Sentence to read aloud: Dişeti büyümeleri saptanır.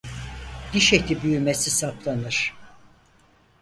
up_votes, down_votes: 0, 4